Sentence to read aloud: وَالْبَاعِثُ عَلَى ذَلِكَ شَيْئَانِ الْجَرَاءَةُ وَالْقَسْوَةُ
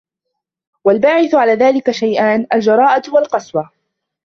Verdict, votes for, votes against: rejected, 0, 2